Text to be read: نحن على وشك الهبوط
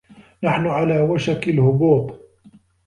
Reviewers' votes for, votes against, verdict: 2, 0, accepted